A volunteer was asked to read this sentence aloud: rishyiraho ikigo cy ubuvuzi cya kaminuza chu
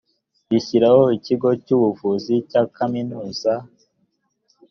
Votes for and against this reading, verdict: 0, 2, rejected